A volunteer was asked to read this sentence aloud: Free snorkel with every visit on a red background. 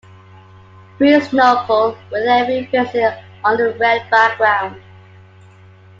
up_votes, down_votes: 2, 1